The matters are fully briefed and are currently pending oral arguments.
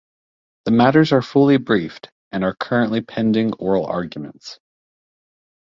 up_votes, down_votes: 2, 0